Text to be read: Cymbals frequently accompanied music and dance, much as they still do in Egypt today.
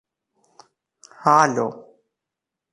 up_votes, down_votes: 0, 2